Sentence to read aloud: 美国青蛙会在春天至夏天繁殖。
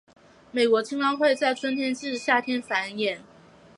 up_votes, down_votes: 1, 2